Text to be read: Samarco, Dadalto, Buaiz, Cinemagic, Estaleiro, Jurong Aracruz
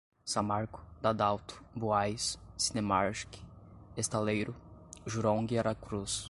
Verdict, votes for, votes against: rejected, 0, 2